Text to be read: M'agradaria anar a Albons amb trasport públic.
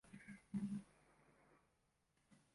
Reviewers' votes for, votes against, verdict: 0, 2, rejected